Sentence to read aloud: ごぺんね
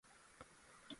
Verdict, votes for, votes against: rejected, 0, 2